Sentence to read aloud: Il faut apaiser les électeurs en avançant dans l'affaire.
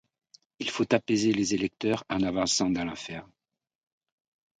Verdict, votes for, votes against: accepted, 2, 0